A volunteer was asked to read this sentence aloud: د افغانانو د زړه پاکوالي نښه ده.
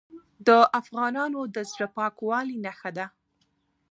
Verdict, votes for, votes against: accepted, 2, 1